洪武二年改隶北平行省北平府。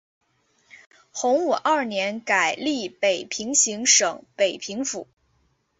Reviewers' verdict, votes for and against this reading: accepted, 2, 0